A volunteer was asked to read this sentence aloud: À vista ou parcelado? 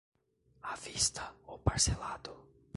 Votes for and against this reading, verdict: 1, 2, rejected